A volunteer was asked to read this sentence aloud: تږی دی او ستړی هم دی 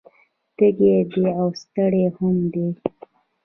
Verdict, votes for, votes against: accepted, 2, 1